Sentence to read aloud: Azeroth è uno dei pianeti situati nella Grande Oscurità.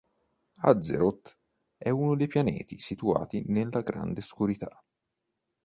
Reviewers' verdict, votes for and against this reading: accepted, 2, 0